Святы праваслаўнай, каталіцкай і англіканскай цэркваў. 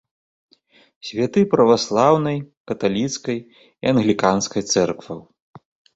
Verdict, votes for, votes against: accepted, 2, 1